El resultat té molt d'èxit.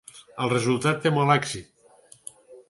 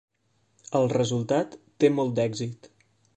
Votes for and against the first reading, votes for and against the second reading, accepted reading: 0, 4, 3, 0, second